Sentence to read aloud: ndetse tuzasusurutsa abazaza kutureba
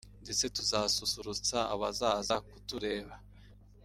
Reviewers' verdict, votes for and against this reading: rejected, 0, 2